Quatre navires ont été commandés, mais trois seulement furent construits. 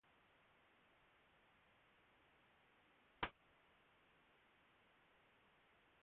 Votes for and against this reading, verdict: 0, 2, rejected